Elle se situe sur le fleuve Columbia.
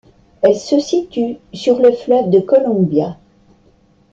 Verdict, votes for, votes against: rejected, 1, 2